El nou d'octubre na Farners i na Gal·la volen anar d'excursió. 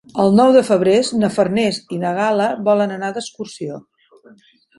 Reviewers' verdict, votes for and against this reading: rejected, 0, 2